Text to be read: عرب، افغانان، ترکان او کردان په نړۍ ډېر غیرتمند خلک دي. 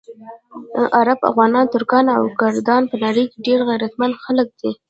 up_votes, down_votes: 0, 2